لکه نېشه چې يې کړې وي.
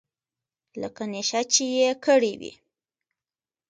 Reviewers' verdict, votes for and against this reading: accepted, 2, 0